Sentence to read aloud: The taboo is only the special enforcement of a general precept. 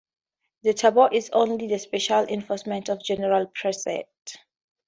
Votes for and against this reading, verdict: 2, 0, accepted